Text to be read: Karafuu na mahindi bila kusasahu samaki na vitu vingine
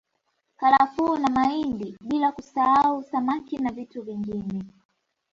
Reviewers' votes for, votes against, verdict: 1, 2, rejected